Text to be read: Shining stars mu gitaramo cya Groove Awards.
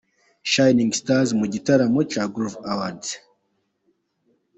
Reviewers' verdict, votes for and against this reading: accepted, 2, 0